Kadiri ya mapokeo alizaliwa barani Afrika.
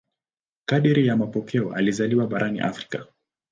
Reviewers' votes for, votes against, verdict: 10, 0, accepted